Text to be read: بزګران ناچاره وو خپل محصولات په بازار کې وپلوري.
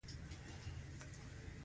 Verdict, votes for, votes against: accepted, 2, 0